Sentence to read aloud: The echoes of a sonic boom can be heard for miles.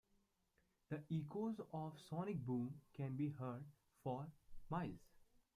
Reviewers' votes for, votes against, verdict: 1, 2, rejected